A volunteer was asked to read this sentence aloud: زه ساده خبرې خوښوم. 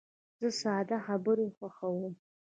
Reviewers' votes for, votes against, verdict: 1, 2, rejected